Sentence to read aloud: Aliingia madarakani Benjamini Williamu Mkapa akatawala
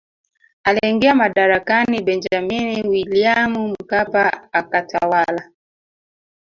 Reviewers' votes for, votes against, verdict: 0, 2, rejected